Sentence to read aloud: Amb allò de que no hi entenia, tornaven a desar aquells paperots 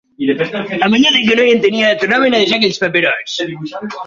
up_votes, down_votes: 0, 4